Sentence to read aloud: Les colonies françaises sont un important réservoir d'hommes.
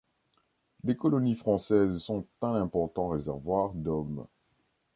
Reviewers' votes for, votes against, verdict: 2, 0, accepted